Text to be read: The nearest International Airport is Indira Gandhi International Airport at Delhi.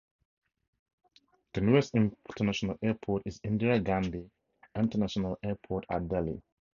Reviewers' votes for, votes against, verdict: 0, 2, rejected